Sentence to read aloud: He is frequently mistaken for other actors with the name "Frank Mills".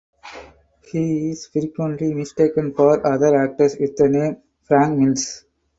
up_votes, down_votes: 2, 4